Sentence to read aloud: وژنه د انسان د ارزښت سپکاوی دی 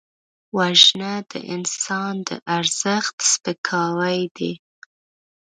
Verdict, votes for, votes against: rejected, 0, 2